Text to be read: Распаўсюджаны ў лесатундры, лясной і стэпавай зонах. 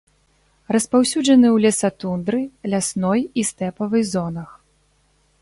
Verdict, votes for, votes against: accepted, 3, 0